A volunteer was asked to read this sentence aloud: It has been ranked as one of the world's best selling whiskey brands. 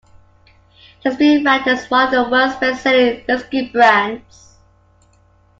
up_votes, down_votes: 0, 2